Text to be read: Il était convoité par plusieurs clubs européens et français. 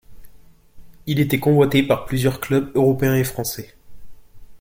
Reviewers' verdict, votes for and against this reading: accepted, 2, 0